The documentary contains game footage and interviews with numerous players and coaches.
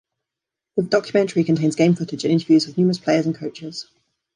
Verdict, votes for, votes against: rejected, 0, 2